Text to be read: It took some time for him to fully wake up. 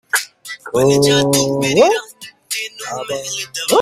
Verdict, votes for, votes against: rejected, 0, 2